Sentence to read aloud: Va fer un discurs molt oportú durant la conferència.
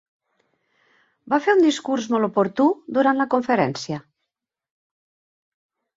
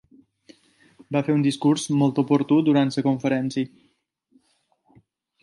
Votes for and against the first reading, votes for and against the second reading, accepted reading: 8, 0, 0, 2, first